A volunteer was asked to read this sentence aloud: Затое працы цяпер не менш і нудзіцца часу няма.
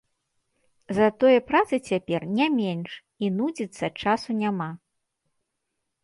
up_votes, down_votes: 1, 2